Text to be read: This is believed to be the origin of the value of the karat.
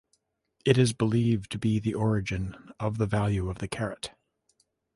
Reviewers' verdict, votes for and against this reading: rejected, 0, 2